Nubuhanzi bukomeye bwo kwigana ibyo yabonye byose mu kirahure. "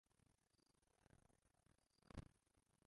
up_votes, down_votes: 0, 2